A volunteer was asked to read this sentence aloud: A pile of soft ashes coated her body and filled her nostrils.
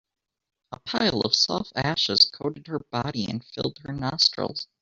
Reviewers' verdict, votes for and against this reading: rejected, 1, 2